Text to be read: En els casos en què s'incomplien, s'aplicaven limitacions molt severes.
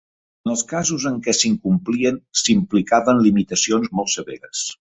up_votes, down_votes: 1, 2